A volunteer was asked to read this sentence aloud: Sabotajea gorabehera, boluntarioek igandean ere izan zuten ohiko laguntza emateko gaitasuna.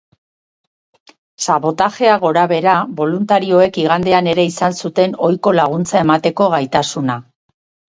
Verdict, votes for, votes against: rejected, 2, 2